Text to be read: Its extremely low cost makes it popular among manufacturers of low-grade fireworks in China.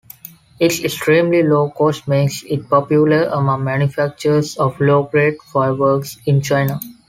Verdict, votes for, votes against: accepted, 2, 0